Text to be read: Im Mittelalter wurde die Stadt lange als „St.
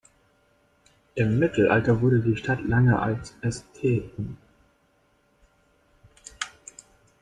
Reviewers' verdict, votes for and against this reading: rejected, 0, 2